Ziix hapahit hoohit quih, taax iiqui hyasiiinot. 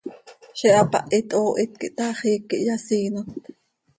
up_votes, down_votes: 2, 0